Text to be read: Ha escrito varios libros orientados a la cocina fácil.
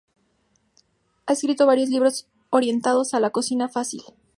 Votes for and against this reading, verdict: 4, 0, accepted